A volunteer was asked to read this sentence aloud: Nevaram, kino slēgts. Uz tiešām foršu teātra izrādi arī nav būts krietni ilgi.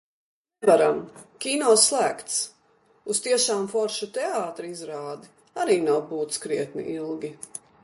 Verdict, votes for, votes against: accepted, 2, 0